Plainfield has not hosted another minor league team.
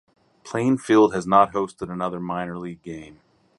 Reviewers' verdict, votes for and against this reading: rejected, 0, 2